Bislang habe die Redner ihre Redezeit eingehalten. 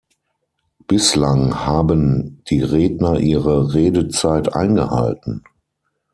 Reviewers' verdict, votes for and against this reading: accepted, 6, 3